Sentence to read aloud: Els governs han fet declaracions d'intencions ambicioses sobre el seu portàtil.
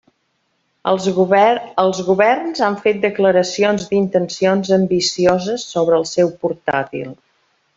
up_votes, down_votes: 0, 2